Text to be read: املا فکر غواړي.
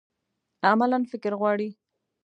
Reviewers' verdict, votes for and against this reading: rejected, 1, 2